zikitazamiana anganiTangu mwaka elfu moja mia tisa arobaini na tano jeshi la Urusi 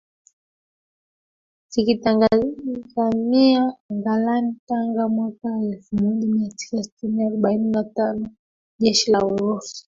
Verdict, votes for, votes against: rejected, 0, 2